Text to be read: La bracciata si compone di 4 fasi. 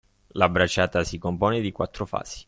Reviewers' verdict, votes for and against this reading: rejected, 0, 2